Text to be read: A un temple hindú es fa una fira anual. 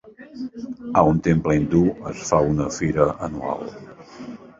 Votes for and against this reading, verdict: 2, 1, accepted